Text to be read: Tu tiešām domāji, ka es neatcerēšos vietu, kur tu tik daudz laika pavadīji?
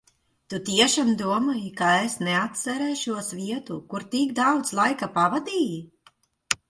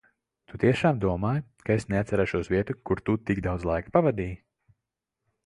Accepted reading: second